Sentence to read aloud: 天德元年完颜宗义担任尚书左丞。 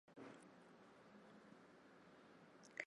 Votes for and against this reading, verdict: 0, 2, rejected